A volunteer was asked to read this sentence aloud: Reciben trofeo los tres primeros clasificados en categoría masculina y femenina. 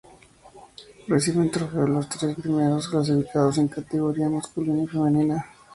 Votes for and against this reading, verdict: 2, 0, accepted